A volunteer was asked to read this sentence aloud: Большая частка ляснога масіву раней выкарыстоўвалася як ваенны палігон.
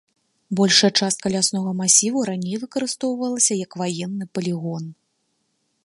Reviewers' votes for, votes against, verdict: 2, 0, accepted